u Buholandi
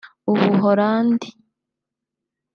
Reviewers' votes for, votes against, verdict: 2, 1, accepted